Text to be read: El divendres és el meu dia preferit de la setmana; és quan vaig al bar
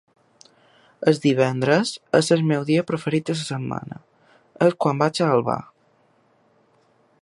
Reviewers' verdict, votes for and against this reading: accepted, 2, 1